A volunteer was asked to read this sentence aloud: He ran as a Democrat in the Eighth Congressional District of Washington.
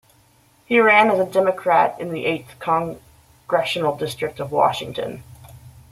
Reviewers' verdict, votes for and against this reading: rejected, 1, 2